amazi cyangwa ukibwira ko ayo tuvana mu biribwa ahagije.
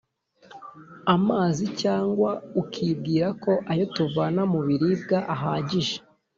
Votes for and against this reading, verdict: 2, 0, accepted